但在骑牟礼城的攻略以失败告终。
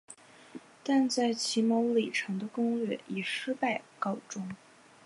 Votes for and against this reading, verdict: 6, 0, accepted